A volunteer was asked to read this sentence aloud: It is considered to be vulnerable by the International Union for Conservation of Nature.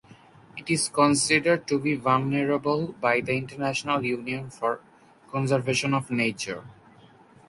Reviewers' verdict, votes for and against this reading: accepted, 6, 0